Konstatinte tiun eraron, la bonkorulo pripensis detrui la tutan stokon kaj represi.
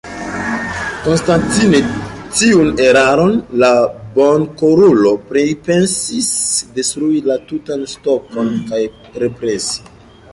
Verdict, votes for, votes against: rejected, 0, 2